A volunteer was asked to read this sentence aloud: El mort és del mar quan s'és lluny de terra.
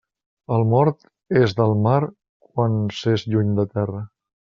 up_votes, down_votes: 3, 0